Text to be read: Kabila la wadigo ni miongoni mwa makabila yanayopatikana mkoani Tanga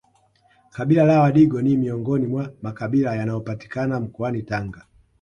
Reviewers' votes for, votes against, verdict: 2, 0, accepted